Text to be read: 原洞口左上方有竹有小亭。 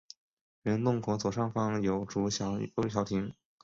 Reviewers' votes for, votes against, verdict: 6, 1, accepted